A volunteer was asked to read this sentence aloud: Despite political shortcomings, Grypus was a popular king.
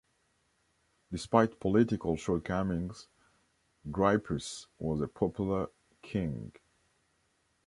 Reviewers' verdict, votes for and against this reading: accepted, 2, 0